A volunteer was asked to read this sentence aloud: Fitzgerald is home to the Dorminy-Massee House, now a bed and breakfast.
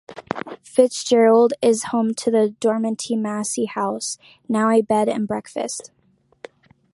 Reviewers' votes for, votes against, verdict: 0, 2, rejected